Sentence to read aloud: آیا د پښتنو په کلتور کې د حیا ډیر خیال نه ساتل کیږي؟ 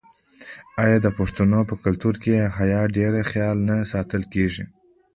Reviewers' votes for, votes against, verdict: 2, 0, accepted